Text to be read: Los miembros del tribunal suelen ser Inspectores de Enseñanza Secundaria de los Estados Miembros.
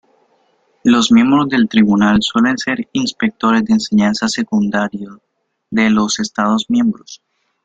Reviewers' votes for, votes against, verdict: 2, 0, accepted